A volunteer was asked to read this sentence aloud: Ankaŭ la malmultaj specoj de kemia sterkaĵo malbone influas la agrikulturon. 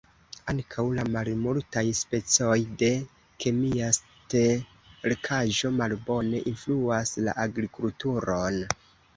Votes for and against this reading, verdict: 2, 1, accepted